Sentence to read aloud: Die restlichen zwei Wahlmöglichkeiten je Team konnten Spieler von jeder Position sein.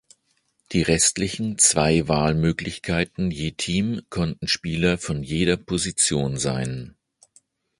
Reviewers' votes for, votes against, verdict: 2, 0, accepted